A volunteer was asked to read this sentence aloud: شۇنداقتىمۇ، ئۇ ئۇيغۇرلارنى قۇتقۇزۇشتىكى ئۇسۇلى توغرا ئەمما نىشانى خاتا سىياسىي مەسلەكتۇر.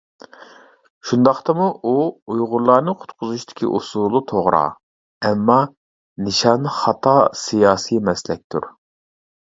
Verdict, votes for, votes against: accepted, 2, 0